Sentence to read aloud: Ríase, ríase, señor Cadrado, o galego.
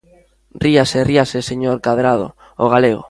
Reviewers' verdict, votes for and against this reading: accepted, 2, 0